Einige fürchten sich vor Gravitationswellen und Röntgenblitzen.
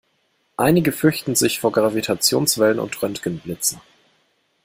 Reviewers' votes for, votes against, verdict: 2, 0, accepted